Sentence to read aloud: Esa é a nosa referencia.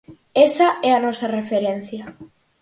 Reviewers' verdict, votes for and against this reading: accepted, 4, 0